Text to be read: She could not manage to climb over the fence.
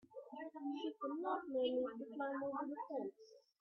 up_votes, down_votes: 0, 2